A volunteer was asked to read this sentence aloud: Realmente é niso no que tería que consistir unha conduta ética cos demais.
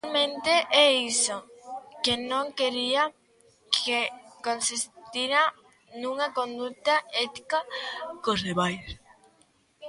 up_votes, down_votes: 0, 2